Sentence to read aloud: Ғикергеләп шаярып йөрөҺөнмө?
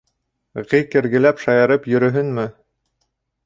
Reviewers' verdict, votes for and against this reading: rejected, 2, 3